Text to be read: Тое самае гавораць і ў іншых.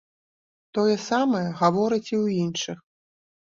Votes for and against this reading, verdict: 2, 0, accepted